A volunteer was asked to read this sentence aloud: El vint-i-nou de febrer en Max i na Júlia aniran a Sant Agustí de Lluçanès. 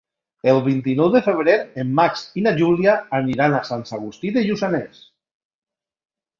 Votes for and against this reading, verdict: 0, 2, rejected